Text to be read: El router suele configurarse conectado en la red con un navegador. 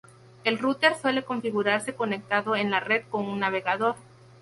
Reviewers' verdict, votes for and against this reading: accepted, 2, 0